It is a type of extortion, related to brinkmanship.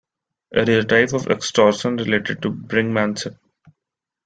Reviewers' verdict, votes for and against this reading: rejected, 1, 2